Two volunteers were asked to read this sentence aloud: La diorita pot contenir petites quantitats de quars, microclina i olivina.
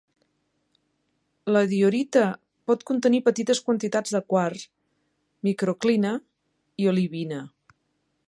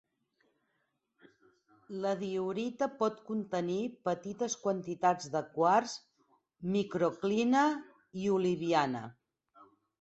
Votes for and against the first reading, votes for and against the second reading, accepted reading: 2, 1, 2, 4, first